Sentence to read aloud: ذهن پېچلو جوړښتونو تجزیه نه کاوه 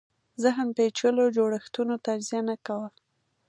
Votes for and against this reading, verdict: 2, 0, accepted